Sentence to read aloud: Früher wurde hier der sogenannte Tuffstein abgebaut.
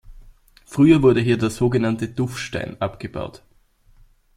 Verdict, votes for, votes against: accepted, 2, 0